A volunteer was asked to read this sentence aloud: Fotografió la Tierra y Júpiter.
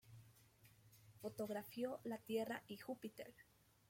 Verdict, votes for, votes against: accepted, 2, 0